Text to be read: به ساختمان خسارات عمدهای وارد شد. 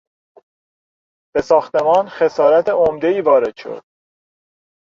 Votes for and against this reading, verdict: 0, 2, rejected